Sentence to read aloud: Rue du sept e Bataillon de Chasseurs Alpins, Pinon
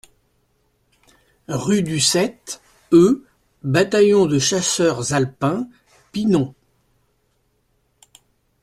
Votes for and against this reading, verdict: 2, 0, accepted